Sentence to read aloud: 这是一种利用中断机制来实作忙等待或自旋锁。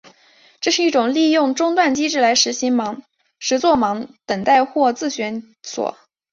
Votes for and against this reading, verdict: 0, 2, rejected